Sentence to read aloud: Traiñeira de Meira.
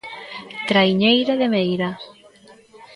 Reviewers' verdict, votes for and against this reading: rejected, 1, 2